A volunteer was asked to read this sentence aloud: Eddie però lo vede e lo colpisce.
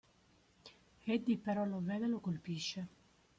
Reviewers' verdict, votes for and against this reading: rejected, 1, 2